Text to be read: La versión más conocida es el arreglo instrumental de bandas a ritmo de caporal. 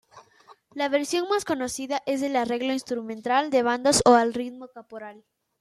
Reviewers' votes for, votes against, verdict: 0, 2, rejected